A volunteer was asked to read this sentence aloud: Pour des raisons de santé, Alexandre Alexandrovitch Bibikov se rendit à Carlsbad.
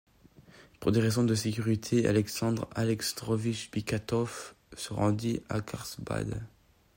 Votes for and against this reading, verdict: 1, 2, rejected